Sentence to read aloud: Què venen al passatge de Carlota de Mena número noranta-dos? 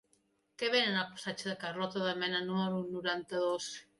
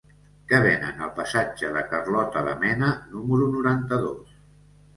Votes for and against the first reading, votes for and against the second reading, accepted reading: 2, 1, 1, 2, first